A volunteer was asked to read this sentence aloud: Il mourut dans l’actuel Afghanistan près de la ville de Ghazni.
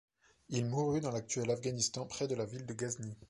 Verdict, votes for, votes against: accepted, 2, 0